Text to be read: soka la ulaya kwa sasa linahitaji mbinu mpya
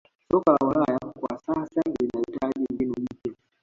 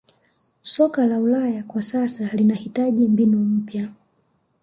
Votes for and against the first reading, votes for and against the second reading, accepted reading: 1, 2, 2, 0, second